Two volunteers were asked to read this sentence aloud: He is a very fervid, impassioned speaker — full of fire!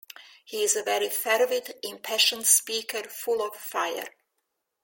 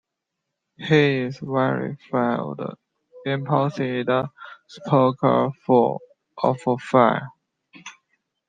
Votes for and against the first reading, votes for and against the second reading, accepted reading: 2, 0, 0, 2, first